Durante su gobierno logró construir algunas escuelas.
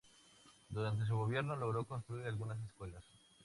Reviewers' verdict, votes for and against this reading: accepted, 4, 0